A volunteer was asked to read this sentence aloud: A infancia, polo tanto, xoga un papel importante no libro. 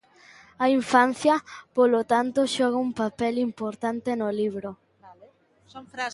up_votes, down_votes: 0, 2